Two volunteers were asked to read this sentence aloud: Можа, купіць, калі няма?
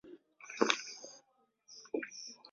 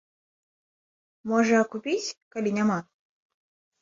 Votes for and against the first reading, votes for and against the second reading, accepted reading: 0, 2, 2, 0, second